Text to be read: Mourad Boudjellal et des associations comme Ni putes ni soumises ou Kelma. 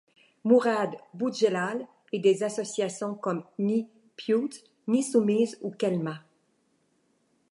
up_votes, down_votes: 1, 2